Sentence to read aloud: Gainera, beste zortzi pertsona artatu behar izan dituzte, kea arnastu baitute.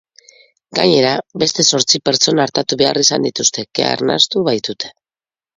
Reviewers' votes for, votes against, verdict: 2, 0, accepted